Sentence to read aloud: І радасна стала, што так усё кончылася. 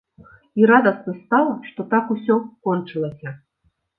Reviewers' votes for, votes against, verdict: 2, 0, accepted